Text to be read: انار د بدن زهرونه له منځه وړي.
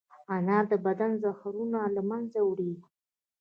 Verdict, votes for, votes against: accepted, 2, 0